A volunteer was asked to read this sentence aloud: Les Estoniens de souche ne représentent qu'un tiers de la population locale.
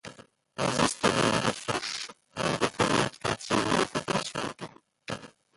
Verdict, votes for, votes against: rejected, 0, 2